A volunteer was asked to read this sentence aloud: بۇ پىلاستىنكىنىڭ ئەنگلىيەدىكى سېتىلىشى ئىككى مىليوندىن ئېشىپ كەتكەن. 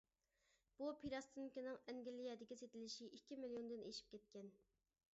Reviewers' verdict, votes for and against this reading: accepted, 2, 0